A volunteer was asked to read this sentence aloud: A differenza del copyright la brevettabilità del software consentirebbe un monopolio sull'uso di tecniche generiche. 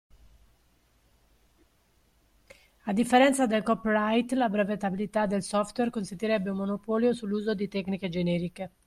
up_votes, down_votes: 2, 0